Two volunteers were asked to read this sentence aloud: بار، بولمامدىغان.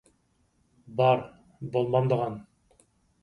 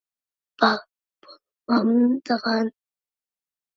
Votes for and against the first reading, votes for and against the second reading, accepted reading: 4, 0, 0, 2, first